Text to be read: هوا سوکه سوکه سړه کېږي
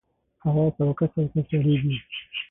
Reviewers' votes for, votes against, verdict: 3, 6, rejected